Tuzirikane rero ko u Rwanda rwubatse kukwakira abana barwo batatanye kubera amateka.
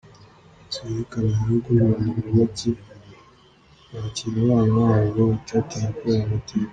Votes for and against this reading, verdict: 1, 2, rejected